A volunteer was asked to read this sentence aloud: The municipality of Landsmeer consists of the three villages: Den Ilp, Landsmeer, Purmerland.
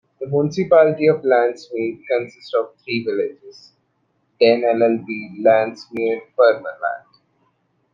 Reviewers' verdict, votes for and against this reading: accepted, 2, 1